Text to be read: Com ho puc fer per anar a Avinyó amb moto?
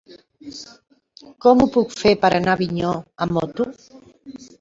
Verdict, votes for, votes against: accepted, 3, 0